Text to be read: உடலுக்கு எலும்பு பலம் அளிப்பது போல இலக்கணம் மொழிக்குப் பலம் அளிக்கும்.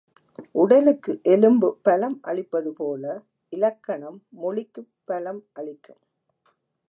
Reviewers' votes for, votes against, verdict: 2, 0, accepted